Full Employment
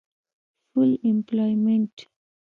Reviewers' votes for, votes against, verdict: 1, 2, rejected